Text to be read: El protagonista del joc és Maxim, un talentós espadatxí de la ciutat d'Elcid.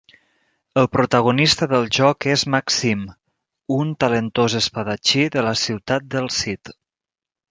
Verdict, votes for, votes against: rejected, 0, 2